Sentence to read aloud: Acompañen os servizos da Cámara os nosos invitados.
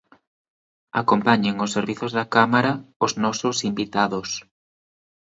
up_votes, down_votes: 2, 1